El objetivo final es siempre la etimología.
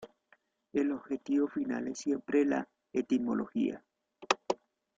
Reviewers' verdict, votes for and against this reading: rejected, 1, 2